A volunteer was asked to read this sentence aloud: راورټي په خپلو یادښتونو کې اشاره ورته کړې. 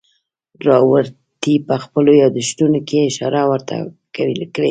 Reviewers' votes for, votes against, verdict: 1, 2, rejected